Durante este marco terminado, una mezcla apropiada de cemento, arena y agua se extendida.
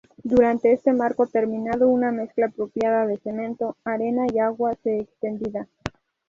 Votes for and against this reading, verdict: 4, 0, accepted